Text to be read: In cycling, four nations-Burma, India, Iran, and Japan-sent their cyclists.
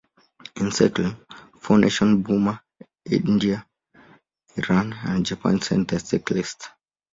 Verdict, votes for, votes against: rejected, 0, 2